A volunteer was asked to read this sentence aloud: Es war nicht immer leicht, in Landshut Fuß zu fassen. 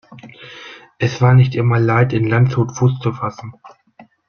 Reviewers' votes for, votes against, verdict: 0, 2, rejected